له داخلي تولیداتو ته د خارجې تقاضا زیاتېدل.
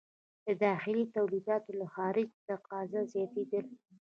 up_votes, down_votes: 1, 2